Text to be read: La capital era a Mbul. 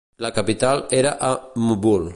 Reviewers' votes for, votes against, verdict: 2, 0, accepted